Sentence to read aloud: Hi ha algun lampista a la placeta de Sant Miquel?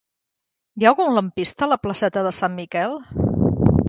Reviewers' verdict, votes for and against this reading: accepted, 3, 0